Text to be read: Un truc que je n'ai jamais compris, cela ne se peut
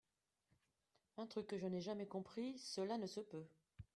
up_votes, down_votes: 1, 3